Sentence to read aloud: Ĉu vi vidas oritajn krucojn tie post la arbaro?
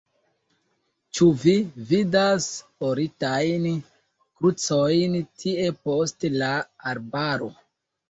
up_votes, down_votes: 1, 2